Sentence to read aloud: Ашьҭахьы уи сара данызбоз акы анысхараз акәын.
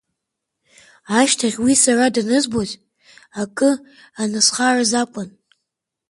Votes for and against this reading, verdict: 3, 1, accepted